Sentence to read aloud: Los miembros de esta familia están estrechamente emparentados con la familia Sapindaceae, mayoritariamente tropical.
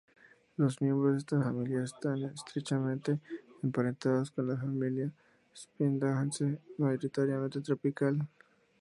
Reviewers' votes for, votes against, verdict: 0, 2, rejected